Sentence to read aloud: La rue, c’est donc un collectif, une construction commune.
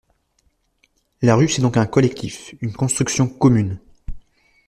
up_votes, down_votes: 2, 1